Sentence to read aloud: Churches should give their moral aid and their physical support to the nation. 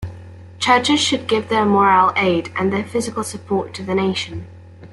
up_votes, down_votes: 2, 0